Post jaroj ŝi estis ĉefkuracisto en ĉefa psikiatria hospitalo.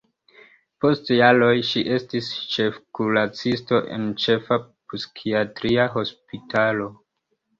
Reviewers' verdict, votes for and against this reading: rejected, 1, 2